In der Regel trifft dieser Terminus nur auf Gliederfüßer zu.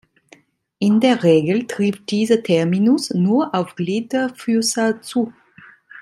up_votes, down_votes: 2, 0